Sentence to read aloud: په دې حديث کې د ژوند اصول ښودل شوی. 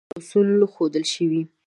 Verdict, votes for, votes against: rejected, 1, 2